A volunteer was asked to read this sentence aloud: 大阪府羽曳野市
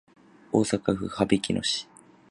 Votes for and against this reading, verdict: 2, 0, accepted